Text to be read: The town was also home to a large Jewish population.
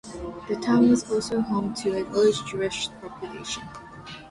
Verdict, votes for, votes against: accepted, 2, 0